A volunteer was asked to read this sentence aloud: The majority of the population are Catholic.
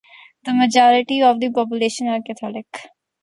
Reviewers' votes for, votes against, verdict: 2, 0, accepted